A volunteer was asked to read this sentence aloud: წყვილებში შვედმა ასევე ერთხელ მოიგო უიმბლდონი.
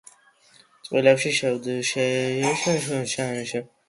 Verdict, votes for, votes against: rejected, 0, 2